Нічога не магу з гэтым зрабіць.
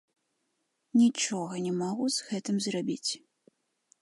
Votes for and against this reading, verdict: 2, 1, accepted